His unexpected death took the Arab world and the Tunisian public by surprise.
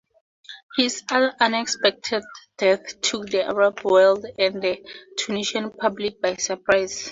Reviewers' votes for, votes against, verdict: 4, 2, accepted